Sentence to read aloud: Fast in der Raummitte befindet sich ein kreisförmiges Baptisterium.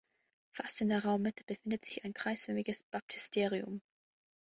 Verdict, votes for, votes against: accepted, 2, 0